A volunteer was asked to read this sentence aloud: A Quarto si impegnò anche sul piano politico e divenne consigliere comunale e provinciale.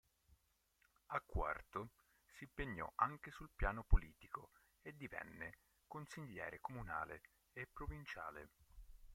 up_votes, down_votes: 2, 5